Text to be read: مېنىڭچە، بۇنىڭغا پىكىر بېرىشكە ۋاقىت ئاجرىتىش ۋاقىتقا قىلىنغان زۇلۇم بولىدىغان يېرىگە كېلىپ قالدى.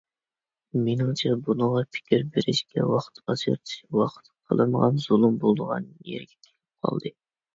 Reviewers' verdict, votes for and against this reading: rejected, 1, 2